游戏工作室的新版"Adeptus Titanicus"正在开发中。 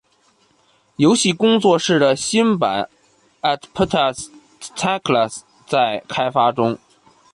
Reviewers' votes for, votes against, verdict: 0, 2, rejected